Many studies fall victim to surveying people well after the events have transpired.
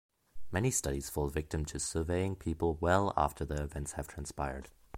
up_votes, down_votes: 2, 0